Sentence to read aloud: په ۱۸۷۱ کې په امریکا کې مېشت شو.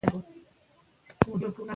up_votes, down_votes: 0, 2